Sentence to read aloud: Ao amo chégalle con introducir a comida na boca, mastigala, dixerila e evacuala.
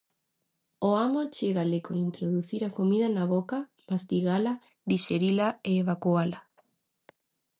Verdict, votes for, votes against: rejected, 0, 2